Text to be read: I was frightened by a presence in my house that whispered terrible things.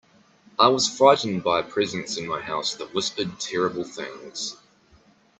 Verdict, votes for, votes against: accepted, 2, 0